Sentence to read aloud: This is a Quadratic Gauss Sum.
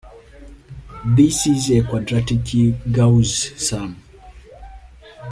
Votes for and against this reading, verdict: 0, 2, rejected